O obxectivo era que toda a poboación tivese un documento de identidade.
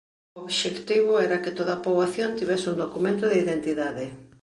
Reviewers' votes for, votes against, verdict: 1, 2, rejected